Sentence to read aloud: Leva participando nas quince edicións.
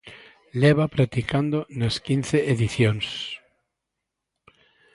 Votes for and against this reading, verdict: 0, 2, rejected